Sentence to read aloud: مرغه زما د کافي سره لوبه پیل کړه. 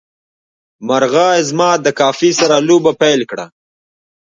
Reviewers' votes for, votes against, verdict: 2, 1, accepted